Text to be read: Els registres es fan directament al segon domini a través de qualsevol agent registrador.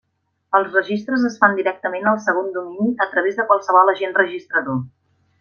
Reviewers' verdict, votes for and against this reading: accepted, 3, 0